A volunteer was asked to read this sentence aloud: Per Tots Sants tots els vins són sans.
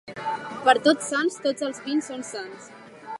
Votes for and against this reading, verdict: 2, 0, accepted